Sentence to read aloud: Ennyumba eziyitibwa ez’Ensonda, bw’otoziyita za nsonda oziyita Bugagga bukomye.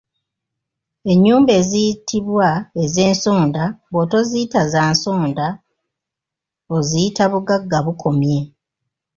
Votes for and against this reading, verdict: 2, 0, accepted